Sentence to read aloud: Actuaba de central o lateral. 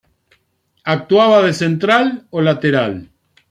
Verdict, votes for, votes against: accepted, 2, 0